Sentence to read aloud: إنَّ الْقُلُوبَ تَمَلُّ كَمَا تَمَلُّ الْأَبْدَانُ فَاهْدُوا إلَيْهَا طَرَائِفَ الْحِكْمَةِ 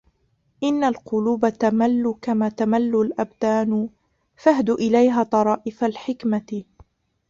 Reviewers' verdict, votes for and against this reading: rejected, 0, 2